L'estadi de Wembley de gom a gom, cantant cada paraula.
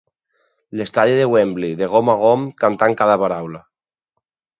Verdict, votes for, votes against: accepted, 6, 0